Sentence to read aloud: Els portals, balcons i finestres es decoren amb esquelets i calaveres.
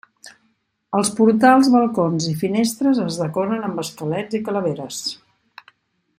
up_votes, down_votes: 2, 0